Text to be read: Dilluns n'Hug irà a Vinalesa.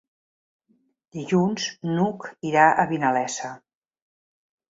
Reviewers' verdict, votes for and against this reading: accepted, 3, 0